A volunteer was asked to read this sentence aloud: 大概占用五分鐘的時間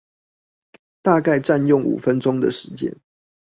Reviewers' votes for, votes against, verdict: 2, 0, accepted